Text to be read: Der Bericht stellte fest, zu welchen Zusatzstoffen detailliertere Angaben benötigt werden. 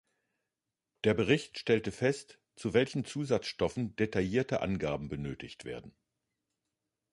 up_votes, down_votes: 1, 2